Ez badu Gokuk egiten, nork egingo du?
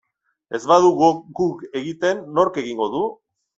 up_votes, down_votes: 1, 2